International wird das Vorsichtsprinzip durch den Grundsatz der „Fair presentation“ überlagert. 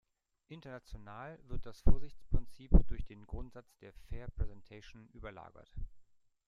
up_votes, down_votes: 2, 1